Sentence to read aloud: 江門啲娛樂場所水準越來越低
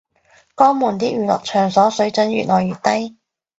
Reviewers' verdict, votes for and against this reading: accepted, 2, 0